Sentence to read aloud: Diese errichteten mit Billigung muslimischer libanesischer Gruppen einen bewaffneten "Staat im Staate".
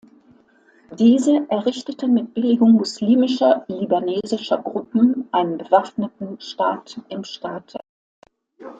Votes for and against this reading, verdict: 2, 0, accepted